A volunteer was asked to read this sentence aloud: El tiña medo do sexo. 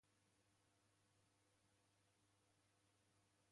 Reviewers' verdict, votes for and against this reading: rejected, 1, 2